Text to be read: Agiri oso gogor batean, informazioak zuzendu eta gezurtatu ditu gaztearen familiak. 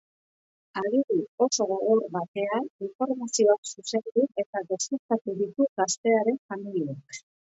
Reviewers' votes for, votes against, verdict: 0, 5, rejected